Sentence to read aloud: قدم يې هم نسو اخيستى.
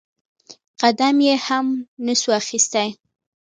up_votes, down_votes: 0, 2